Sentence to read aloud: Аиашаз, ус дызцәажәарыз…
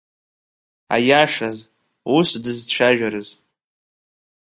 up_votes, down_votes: 2, 0